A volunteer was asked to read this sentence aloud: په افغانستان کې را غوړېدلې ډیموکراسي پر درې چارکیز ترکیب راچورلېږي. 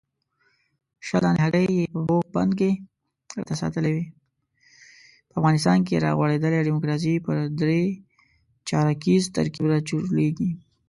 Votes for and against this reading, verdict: 0, 2, rejected